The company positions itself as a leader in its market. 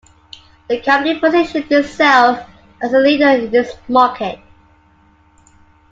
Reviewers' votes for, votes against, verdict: 2, 1, accepted